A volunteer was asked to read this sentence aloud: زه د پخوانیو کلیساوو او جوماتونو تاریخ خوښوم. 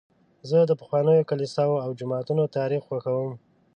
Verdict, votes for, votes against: accepted, 2, 0